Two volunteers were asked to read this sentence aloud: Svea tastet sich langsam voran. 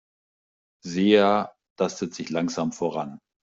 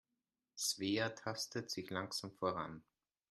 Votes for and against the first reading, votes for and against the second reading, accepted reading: 0, 2, 2, 0, second